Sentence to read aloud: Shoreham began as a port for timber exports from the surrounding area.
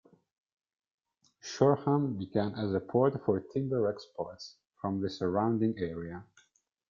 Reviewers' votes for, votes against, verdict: 1, 2, rejected